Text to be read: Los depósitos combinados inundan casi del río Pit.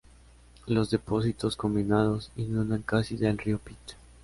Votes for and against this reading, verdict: 2, 0, accepted